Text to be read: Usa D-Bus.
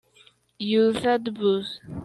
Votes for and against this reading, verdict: 1, 2, rejected